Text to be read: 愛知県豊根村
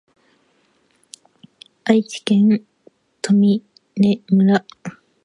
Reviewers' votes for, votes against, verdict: 4, 3, accepted